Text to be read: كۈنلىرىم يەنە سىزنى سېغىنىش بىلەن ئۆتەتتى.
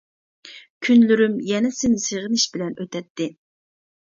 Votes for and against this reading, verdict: 0, 2, rejected